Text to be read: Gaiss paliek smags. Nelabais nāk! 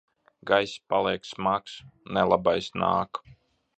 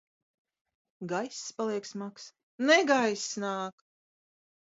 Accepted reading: first